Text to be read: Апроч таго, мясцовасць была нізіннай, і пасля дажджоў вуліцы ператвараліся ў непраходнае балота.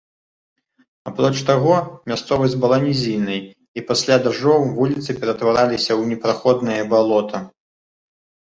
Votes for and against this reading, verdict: 2, 0, accepted